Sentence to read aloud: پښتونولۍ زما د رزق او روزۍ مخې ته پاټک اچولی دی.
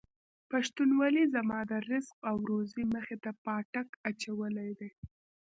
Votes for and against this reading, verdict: 0, 2, rejected